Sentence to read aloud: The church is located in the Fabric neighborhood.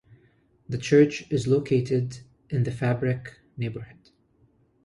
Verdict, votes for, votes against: accepted, 2, 0